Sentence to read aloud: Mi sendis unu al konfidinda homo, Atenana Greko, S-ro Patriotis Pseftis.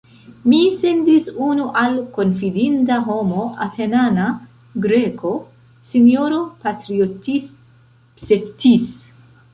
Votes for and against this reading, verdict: 0, 2, rejected